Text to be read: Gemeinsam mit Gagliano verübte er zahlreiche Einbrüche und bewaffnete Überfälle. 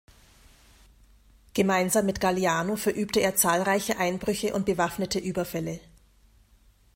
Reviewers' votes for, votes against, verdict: 2, 0, accepted